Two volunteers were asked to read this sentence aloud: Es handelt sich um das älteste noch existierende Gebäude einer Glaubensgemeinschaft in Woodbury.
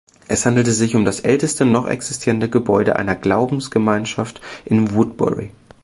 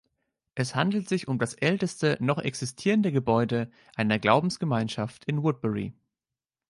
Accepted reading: second